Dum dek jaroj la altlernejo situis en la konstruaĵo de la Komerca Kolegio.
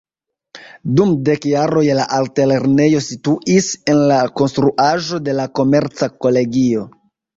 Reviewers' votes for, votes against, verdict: 1, 2, rejected